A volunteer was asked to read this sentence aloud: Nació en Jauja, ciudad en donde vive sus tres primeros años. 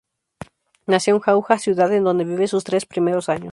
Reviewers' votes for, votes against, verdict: 2, 0, accepted